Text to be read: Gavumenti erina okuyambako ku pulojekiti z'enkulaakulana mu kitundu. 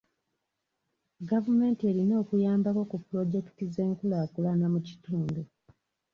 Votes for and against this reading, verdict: 2, 0, accepted